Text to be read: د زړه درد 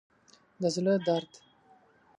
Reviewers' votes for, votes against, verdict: 2, 0, accepted